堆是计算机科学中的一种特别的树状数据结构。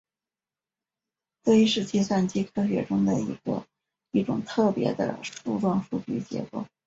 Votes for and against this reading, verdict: 0, 2, rejected